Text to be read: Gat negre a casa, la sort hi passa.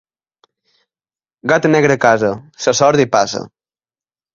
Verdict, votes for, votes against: rejected, 1, 2